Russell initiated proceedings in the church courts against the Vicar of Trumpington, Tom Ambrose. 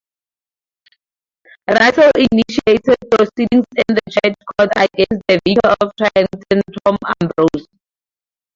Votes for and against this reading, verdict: 0, 2, rejected